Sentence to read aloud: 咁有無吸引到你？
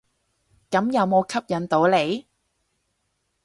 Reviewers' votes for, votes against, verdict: 2, 2, rejected